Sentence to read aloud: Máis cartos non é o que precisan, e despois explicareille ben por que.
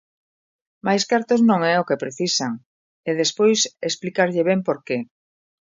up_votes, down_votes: 0, 2